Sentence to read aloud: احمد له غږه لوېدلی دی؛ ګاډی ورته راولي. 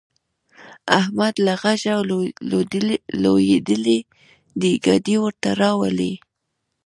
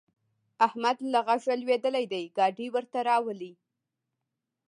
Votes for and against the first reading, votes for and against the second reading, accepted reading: 1, 2, 2, 0, second